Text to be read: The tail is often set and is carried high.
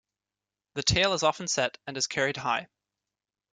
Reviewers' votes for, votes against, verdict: 2, 0, accepted